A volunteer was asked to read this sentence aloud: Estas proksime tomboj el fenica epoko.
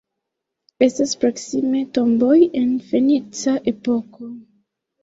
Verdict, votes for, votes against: rejected, 1, 2